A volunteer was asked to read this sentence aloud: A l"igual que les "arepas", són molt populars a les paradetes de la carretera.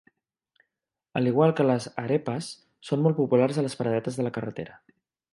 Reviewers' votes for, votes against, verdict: 2, 0, accepted